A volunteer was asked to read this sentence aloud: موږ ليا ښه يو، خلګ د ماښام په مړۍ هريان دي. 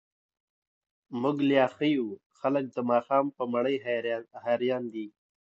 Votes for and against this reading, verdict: 2, 0, accepted